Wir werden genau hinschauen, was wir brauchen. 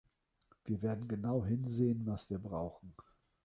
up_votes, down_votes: 0, 2